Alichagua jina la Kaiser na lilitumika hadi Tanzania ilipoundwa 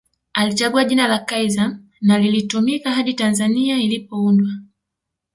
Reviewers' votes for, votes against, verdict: 3, 0, accepted